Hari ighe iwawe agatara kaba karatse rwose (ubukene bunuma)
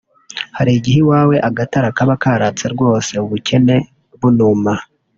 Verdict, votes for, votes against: accepted, 2, 0